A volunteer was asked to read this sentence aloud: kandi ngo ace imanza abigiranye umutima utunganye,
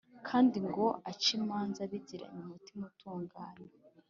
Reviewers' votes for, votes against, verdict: 2, 1, accepted